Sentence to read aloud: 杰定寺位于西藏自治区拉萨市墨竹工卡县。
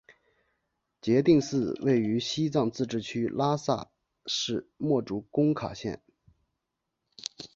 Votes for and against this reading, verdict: 6, 3, accepted